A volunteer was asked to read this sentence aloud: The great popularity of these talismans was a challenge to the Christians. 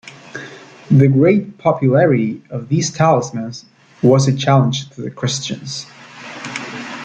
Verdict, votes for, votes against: rejected, 0, 2